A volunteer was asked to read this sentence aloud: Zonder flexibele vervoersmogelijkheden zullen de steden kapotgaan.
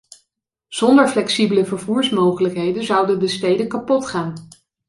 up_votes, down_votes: 0, 2